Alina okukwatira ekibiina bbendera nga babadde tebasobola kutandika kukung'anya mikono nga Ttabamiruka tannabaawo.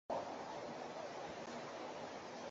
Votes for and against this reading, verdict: 0, 2, rejected